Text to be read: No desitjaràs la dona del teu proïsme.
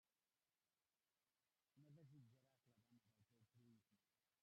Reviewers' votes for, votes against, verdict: 0, 2, rejected